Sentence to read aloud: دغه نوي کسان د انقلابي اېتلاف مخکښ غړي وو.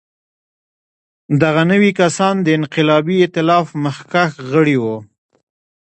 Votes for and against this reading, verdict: 1, 2, rejected